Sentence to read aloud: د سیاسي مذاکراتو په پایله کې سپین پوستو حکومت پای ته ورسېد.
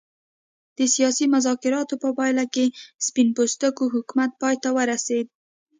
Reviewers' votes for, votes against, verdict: 1, 2, rejected